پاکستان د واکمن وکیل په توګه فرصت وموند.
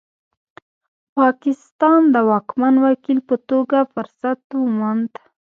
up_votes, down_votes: 2, 0